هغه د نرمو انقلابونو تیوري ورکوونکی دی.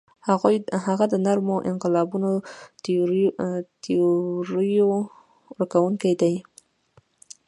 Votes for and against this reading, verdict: 2, 1, accepted